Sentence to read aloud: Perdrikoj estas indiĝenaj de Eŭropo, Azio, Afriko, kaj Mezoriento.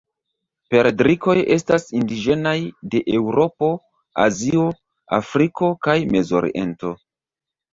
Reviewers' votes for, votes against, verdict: 1, 2, rejected